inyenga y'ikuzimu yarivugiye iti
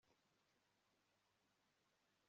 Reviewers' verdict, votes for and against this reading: rejected, 1, 2